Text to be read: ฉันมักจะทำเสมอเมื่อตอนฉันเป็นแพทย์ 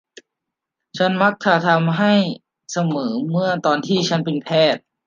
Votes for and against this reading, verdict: 0, 2, rejected